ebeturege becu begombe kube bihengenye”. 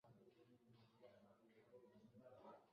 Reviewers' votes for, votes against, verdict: 0, 2, rejected